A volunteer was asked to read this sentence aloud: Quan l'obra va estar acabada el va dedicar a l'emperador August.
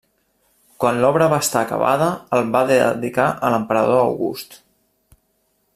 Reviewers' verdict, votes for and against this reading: rejected, 1, 2